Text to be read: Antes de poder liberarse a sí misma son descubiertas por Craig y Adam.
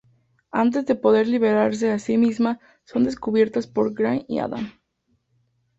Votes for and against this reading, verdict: 2, 0, accepted